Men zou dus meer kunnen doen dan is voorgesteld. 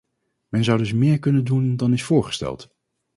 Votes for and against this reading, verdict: 2, 0, accepted